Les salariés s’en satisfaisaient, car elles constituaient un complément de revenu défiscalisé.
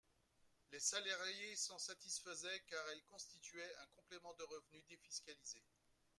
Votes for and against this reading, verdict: 0, 2, rejected